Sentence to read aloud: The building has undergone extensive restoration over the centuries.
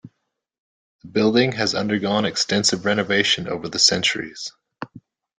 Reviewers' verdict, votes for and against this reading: rejected, 0, 2